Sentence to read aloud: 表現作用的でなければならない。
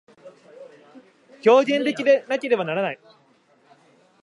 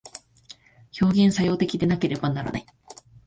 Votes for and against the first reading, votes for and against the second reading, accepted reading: 1, 2, 2, 0, second